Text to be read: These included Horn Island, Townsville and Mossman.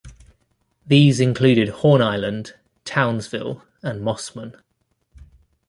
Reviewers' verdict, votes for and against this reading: accepted, 2, 0